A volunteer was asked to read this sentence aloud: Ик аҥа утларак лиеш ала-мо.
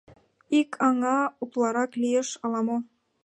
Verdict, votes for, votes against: accepted, 2, 0